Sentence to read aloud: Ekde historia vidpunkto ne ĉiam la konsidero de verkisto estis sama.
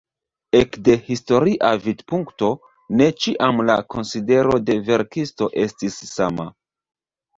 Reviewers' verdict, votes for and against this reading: accepted, 2, 0